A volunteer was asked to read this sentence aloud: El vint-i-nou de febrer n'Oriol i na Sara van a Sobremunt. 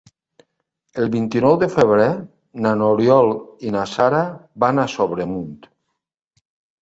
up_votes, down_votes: 1, 3